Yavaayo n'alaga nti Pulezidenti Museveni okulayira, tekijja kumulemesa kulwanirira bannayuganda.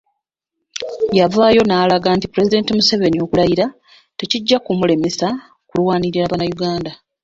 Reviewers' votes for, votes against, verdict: 0, 2, rejected